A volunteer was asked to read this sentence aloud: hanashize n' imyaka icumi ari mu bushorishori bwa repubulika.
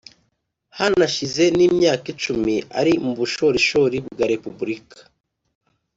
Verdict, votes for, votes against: accepted, 3, 0